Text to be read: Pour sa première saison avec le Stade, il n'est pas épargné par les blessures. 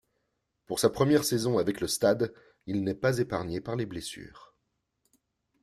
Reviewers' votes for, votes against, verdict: 2, 0, accepted